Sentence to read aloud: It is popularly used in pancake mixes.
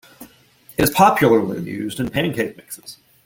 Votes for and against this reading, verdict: 1, 2, rejected